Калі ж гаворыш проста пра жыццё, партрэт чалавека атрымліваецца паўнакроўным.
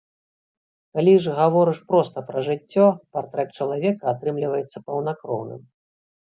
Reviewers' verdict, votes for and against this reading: rejected, 1, 2